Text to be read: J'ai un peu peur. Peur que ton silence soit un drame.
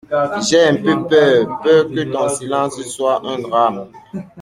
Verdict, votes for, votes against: rejected, 1, 2